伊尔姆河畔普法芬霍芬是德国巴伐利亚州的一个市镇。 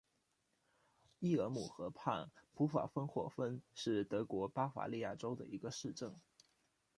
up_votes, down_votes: 2, 0